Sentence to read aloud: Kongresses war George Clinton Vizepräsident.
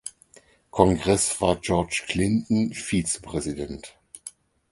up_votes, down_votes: 4, 6